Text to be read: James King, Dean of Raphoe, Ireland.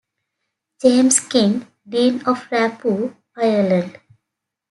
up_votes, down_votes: 2, 0